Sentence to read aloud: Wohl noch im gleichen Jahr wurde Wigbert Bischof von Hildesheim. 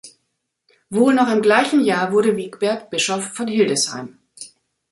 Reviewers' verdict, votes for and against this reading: accepted, 2, 0